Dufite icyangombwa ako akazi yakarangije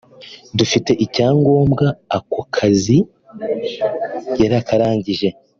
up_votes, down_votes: 1, 2